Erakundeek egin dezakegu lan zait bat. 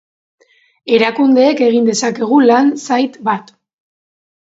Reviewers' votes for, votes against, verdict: 3, 0, accepted